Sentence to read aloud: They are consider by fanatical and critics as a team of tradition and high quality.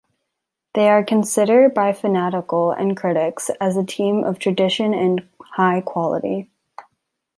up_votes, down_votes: 2, 0